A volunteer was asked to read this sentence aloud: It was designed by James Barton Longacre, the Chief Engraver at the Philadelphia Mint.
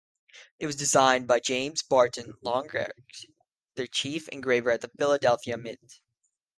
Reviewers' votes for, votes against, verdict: 2, 1, accepted